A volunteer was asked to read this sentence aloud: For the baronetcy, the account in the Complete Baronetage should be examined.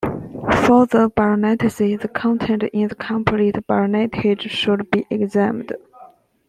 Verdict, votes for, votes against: rejected, 0, 2